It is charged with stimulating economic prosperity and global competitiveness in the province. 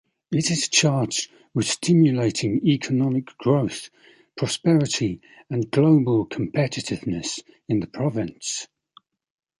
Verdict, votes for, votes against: rejected, 0, 2